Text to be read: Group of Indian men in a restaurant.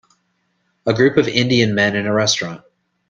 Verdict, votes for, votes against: rejected, 0, 2